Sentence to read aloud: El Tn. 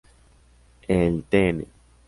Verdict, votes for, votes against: accepted, 2, 0